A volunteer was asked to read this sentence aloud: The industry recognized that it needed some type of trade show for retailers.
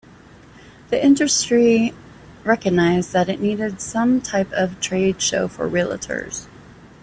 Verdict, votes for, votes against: rejected, 0, 2